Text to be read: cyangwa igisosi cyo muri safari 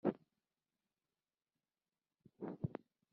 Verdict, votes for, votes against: rejected, 0, 3